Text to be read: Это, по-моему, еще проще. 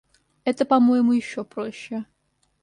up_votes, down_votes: 2, 0